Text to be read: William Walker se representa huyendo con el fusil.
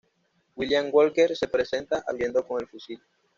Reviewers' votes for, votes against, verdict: 1, 2, rejected